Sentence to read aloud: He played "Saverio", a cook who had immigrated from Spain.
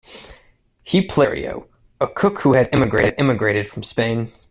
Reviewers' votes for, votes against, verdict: 0, 2, rejected